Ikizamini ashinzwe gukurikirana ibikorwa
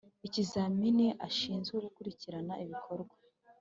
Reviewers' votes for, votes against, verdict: 2, 0, accepted